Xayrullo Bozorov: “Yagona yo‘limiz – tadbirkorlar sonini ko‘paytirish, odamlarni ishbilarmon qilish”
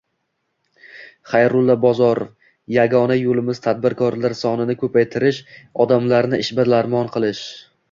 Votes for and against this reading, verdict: 2, 1, accepted